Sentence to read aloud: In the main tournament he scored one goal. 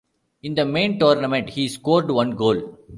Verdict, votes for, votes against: accepted, 2, 0